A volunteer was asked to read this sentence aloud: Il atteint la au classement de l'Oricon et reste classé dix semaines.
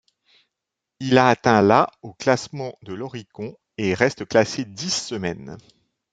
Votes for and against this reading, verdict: 0, 2, rejected